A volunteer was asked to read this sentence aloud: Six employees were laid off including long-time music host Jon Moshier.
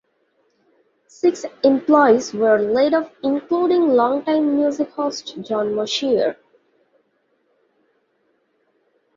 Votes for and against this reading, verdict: 2, 0, accepted